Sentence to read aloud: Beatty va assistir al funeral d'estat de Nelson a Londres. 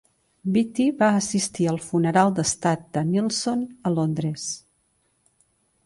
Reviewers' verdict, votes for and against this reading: accepted, 2, 0